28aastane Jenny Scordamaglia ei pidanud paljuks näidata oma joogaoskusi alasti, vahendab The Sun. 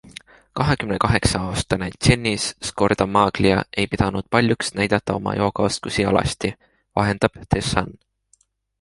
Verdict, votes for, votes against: rejected, 0, 2